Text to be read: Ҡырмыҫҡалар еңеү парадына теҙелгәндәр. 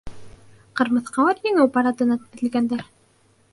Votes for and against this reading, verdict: 0, 2, rejected